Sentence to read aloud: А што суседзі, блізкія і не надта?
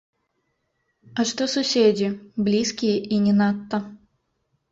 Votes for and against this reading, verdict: 0, 2, rejected